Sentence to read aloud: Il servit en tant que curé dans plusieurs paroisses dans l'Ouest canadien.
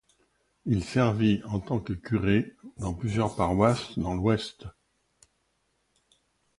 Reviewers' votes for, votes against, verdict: 1, 2, rejected